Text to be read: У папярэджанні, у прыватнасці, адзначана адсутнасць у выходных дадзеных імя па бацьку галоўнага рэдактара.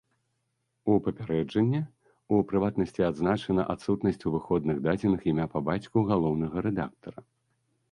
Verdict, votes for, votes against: accepted, 2, 0